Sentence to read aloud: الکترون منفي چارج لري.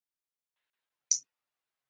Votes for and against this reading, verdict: 0, 2, rejected